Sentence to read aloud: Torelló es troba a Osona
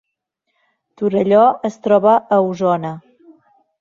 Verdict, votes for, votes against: accepted, 2, 0